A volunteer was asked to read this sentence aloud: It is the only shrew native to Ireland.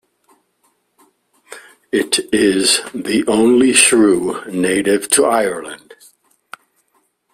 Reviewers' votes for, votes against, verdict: 2, 0, accepted